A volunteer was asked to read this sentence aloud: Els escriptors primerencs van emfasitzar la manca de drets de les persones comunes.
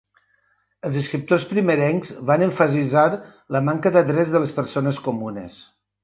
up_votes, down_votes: 1, 2